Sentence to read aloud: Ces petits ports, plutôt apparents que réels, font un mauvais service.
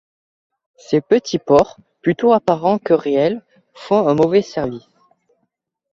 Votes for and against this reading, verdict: 2, 0, accepted